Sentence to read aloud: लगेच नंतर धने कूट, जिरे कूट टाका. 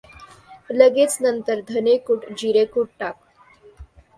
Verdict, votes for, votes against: rejected, 0, 2